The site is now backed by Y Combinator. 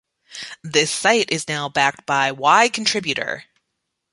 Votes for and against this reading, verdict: 1, 2, rejected